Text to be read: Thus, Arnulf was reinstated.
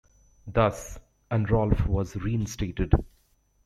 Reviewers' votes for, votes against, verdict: 1, 2, rejected